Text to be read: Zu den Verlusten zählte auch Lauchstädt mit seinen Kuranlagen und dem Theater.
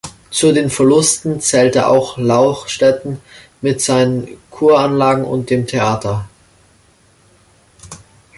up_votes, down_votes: 0, 2